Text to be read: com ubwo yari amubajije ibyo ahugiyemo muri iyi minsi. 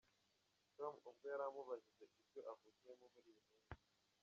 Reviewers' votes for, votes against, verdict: 0, 2, rejected